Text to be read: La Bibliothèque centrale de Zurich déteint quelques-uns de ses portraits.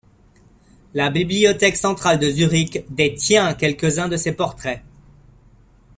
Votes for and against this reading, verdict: 1, 2, rejected